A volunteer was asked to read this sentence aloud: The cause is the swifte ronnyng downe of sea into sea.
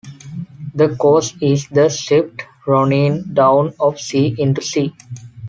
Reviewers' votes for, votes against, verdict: 2, 1, accepted